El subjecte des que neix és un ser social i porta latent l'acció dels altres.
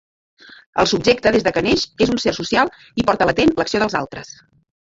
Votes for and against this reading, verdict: 0, 2, rejected